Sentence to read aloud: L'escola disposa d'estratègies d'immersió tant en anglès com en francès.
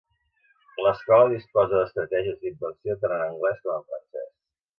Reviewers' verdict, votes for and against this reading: rejected, 1, 2